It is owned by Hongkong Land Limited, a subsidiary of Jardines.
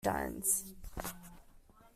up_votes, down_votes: 0, 2